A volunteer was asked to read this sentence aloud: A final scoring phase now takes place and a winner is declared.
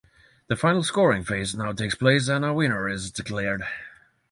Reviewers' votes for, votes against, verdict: 3, 3, rejected